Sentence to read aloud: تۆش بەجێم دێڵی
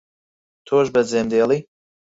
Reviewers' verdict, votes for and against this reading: accepted, 4, 0